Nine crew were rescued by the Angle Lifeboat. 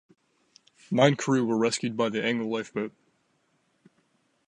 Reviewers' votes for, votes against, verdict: 2, 0, accepted